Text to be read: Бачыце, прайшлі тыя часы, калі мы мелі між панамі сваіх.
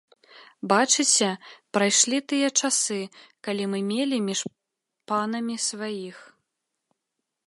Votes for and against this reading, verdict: 1, 2, rejected